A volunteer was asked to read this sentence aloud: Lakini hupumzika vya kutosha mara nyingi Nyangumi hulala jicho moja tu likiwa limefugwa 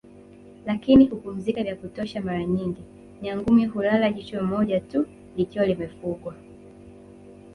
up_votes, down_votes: 2, 3